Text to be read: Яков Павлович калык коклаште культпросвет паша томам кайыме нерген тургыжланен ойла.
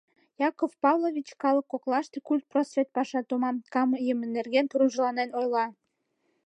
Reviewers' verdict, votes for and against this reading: accepted, 2, 1